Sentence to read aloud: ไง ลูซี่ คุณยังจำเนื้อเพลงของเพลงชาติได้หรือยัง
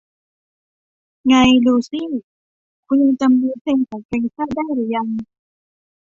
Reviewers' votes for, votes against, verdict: 1, 2, rejected